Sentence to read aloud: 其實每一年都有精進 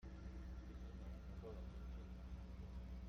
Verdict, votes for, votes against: rejected, 0, 2